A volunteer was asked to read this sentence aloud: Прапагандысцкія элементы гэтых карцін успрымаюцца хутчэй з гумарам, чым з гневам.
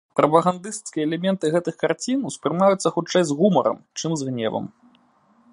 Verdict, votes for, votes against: accepted, 2, 0